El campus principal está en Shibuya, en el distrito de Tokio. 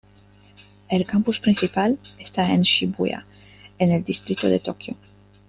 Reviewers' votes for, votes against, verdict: 2, 0, accepted